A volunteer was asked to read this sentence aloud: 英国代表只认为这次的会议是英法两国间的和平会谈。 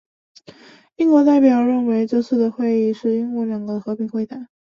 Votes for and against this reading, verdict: 0, 2, rejected